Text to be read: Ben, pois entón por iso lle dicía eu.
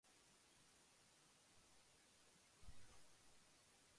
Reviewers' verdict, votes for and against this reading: rejected, 0, 2